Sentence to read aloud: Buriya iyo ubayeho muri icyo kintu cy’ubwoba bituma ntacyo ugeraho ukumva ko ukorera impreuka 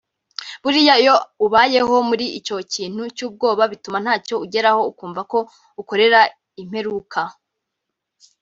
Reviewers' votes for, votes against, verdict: 2, 0, accepted